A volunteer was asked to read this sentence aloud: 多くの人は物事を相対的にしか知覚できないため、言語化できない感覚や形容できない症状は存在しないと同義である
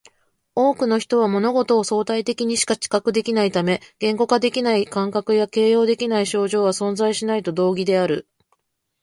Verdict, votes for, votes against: accepted, 2, 0